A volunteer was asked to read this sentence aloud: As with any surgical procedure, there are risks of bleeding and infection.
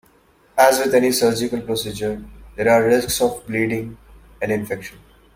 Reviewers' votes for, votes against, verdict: 1, 2, rejected